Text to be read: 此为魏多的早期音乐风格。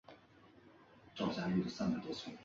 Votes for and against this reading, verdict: 3, 5, rejected